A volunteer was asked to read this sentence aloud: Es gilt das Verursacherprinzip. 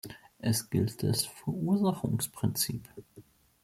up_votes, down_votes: 0, 2